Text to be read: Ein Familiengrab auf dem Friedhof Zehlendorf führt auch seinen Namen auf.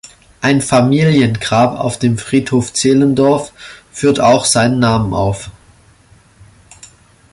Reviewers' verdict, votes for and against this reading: accepted, 2, 0